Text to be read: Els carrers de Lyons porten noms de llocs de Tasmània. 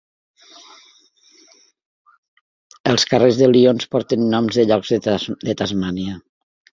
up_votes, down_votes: 1, 3